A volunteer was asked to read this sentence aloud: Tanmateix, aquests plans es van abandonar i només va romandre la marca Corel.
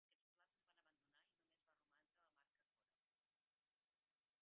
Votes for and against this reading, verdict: 0, 3, rejected